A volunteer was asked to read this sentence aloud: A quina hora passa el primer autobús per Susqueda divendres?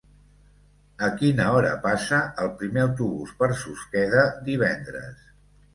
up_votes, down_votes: 1, 2